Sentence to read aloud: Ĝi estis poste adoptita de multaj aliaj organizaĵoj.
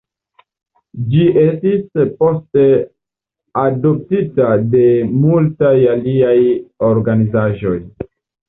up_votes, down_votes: 2, 0